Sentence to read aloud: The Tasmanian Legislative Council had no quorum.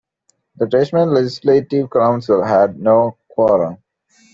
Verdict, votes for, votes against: accepted, 2, 1